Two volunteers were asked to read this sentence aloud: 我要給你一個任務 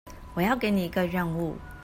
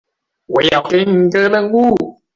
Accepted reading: first